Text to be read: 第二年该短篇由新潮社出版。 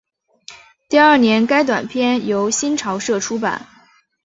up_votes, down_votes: 2, 0